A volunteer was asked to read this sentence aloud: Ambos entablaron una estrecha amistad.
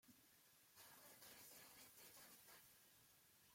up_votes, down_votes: 0, 2